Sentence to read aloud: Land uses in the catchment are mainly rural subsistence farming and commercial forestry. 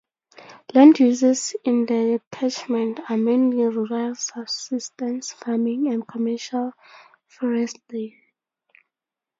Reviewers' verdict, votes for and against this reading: rejected, 2, 2